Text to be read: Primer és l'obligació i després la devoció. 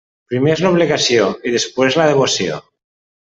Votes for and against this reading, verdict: 1, 2, rejected